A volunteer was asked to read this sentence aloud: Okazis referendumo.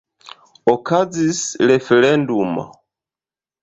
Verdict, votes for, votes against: rejected, 1, 2